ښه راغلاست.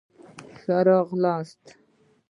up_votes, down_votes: 2, 0